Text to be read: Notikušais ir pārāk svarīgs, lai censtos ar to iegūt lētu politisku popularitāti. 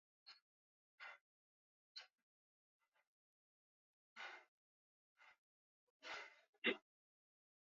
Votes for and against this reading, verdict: 0, 2, rejected